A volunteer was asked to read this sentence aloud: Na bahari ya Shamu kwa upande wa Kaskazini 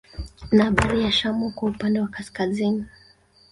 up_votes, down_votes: 1, 2